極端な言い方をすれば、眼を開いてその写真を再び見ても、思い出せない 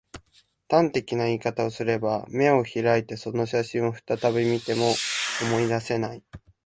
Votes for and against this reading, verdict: 0, 2, rejected